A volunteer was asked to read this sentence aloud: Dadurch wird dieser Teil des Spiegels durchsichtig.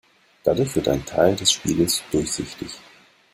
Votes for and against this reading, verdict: 0, 2, rejected